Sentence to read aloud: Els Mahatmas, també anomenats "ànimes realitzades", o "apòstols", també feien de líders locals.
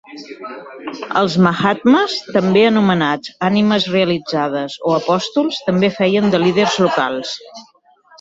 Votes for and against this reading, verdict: 1, 3, rejected